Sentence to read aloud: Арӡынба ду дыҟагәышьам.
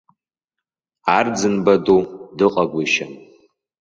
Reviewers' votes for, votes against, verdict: 2, 0, accepted